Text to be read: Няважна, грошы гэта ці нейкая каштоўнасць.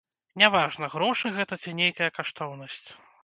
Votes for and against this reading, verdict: 2, 0, accepted